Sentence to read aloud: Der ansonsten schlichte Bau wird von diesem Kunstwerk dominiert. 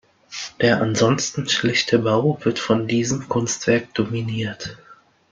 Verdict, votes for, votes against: accepted, 2, 0